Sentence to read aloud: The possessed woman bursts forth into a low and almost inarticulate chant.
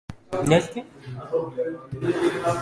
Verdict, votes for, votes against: rejected, 0, 2